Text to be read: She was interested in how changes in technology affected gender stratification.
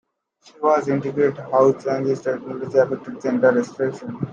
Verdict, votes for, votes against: rejected, 0, 2